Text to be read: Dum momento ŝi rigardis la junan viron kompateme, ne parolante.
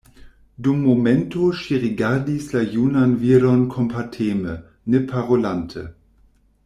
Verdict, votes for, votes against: accepted, 2, 0